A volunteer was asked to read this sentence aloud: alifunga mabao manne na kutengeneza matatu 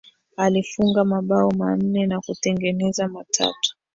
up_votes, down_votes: 0, 2